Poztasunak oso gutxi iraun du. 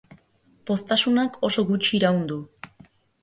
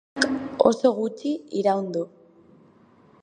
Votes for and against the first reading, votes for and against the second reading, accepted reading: 2, 0, 0, 2, first